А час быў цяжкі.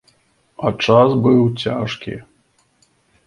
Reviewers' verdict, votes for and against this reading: accepted, 2, 0